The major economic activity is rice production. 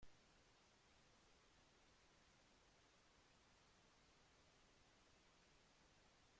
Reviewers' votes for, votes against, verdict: 0, 2, rejected